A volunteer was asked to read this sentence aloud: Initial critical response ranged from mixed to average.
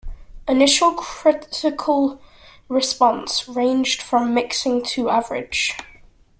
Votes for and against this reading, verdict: 0, 2, rejected